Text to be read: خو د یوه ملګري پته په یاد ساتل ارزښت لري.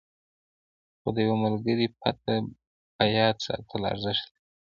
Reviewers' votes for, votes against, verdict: 0, 2, rejected